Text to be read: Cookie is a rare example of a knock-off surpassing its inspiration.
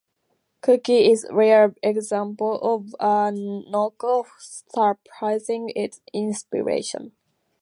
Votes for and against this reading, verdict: 0, 2, rejected